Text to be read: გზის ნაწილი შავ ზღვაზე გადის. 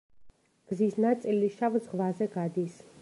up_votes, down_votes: 2, 0